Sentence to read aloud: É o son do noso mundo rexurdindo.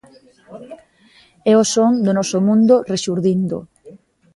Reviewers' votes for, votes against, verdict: 2, 0, accepted